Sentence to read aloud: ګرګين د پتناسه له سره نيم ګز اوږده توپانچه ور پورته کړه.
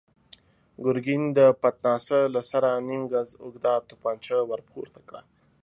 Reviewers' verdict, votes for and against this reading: accepted, 2, 0